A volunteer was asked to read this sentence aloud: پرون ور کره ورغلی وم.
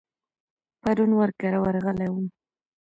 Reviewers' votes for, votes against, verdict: 1, 2, rejected